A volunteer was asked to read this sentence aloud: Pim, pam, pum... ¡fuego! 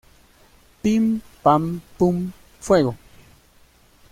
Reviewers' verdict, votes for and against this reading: accepted, 2, 0